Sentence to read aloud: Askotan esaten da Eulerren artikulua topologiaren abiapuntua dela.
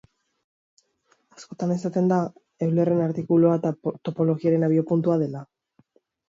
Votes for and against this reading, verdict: 0, 2, rejected